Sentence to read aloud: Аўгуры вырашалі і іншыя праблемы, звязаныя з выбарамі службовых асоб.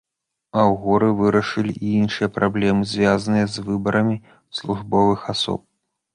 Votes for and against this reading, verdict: 0, 2, rejected